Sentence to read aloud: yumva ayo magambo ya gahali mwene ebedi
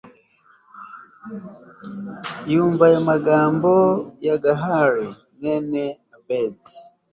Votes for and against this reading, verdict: 2, 0, accepted